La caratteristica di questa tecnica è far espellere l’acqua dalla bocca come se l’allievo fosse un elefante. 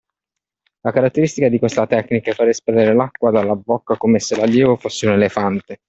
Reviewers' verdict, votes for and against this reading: accepted, 2, 0